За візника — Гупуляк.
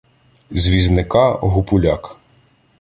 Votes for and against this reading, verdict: 0, 2, rejected